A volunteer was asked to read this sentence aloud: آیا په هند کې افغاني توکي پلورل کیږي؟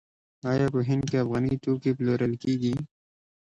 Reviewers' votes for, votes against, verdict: 2, 0, accepted